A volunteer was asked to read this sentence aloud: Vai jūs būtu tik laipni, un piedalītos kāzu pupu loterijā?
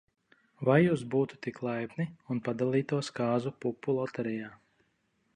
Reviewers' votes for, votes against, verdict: 0, 3, rejected